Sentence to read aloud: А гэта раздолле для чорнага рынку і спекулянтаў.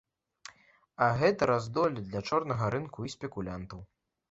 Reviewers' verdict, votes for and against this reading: accepted, 2, 0